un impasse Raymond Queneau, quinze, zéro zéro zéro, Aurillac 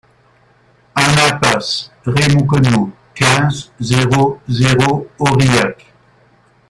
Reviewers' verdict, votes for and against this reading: rejected, 0, 2